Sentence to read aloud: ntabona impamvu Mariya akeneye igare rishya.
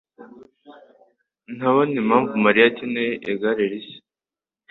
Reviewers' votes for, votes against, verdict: 2, 0, accepted